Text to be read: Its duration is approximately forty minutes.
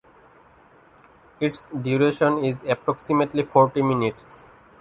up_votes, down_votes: 2, 0